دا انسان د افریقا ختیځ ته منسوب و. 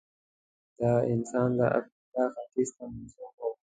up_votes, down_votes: 1, 2